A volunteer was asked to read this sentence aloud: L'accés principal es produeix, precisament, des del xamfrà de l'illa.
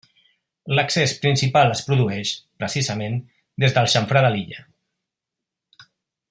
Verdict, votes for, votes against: rejected, 0, 2